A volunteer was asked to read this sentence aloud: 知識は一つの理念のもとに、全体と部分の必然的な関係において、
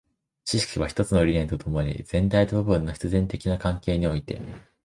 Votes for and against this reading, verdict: 1, 3, rejected